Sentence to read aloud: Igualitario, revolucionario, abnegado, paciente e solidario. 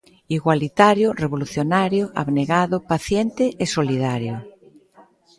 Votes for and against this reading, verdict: 1, 2, rejected